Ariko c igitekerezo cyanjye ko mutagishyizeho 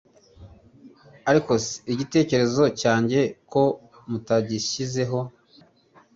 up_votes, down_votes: 2, 0